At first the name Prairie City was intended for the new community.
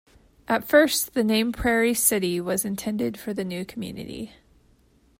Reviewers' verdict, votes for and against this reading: accepted, 2, 0